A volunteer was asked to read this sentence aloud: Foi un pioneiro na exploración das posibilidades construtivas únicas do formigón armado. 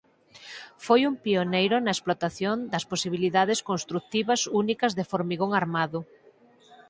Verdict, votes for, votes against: rejected, 0, 4